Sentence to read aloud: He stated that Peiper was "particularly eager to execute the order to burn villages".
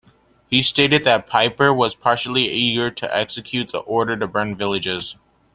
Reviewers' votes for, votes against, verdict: 0, 2, rejected